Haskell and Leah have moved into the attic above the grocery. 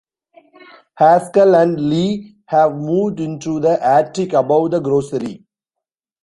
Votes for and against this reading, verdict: 2, 0, accepted